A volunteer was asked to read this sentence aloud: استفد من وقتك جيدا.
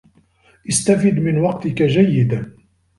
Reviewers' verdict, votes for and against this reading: rejected, 1, 2